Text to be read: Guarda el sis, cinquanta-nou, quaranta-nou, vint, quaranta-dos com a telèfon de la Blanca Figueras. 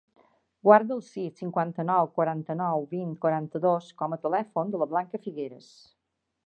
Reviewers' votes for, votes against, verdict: 2, 0, accepted